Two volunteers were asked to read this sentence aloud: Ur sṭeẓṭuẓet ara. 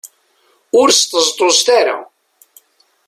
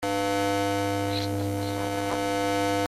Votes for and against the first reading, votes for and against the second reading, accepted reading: 2, 0, 0, 2, first